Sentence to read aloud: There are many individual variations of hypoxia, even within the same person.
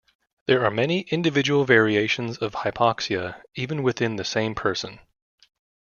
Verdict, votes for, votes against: accepted, 2, 0